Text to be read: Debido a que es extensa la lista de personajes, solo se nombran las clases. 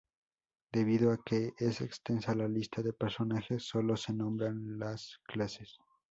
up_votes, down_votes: 2, 2